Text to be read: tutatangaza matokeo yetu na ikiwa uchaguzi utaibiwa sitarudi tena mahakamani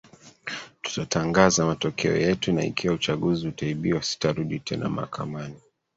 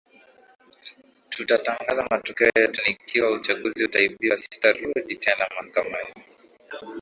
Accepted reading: second